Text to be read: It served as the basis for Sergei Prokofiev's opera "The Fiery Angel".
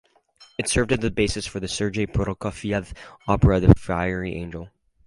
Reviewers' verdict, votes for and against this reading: accepted, 4, 0